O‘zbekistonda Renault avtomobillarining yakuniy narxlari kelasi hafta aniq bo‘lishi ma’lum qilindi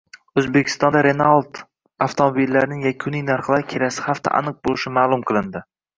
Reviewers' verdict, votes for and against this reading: rejected, 1, 2